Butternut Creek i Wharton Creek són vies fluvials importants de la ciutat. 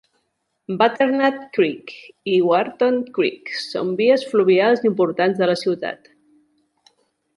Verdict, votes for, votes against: accepted, 2, 0